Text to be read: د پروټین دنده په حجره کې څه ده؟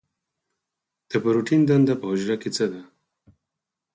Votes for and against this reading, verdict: 2, 4, rejected